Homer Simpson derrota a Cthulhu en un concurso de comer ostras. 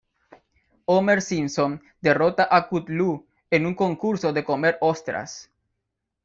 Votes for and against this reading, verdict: 0, 2, rejected